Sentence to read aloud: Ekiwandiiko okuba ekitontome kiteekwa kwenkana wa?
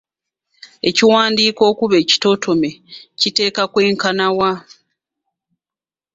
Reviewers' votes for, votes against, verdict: 1, 2, rejected